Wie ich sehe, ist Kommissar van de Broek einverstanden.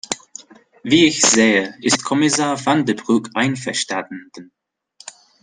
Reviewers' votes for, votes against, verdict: 2, 0, accepted